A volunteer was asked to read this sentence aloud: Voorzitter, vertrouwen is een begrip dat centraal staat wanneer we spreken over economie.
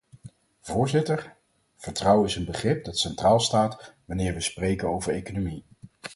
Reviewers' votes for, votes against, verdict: 4, 0, accepted